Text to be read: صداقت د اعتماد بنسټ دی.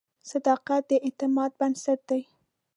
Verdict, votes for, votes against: accepted, 2, 0